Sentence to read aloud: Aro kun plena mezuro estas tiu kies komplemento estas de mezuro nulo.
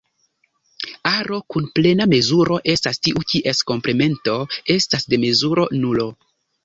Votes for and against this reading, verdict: 2, 0, accepted